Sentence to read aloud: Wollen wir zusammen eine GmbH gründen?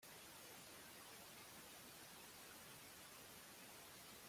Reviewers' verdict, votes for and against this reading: rejected, 0, 2